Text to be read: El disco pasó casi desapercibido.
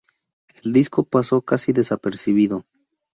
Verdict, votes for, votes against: rejected, 0, 2